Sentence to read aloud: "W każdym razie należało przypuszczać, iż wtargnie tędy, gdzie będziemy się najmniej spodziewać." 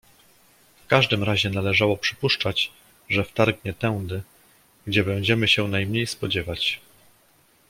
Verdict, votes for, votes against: rejected, 0, 2